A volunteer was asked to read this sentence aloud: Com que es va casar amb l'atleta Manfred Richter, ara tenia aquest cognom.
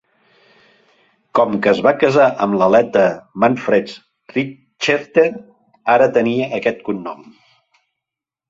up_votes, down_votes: 0, 3